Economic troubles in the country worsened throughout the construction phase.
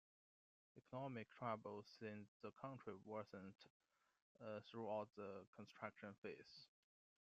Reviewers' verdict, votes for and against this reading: accepted, 2, 1